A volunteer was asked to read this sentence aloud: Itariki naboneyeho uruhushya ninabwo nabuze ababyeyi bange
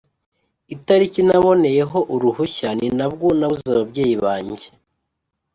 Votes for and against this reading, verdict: 2, 0, accepted